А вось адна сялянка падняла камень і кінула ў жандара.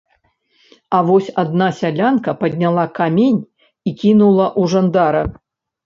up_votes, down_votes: 0, 2